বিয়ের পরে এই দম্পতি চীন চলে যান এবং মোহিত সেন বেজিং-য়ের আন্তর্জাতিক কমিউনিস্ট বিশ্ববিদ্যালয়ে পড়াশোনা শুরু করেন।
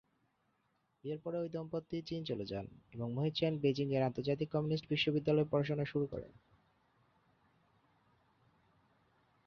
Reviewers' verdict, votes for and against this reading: accepted, 4, 0